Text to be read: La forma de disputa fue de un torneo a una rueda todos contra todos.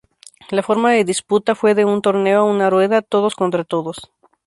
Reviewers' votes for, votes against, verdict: 2, 0, accepted